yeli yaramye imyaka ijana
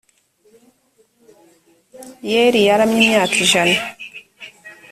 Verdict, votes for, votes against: accepted, 2, 0